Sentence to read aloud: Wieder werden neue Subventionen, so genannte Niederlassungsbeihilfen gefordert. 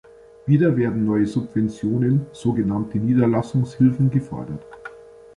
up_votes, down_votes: 1, 2